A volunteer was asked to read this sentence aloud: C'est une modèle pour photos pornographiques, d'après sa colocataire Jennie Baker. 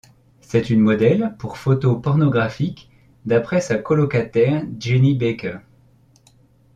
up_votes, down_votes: 2, 0